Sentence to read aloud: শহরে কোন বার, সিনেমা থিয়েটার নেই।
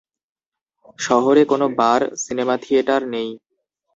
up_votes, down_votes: 0, 2